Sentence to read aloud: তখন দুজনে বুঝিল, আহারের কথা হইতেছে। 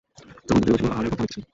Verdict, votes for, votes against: rejected, 0, 2